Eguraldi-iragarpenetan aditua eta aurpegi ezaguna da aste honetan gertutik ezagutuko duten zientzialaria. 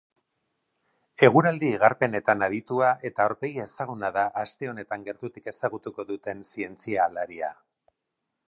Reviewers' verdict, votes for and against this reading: rejected, 2, 2